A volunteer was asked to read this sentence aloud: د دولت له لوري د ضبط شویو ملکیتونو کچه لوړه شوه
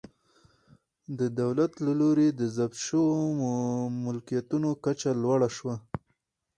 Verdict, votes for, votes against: rejected, 2, 2